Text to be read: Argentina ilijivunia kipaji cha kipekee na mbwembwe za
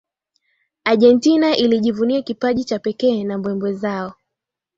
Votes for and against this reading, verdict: 2, 1, accepted